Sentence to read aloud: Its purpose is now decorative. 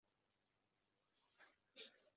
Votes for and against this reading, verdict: 0, 2, rejected